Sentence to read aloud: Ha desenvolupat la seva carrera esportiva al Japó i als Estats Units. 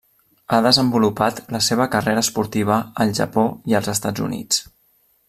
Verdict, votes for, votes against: accepted, 3, 0